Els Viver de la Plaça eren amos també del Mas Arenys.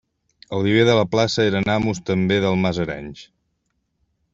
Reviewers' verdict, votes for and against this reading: rejected, 1, 2